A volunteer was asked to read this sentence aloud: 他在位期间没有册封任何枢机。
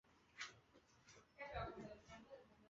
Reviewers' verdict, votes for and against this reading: rejected, 1, 2